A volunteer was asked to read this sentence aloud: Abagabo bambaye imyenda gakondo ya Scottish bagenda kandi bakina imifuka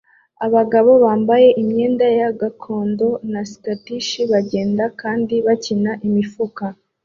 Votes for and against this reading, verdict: 2, 0, accepted